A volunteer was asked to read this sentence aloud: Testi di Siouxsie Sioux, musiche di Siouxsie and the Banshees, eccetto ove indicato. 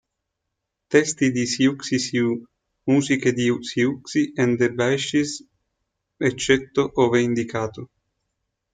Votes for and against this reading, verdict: 0, 2, rejected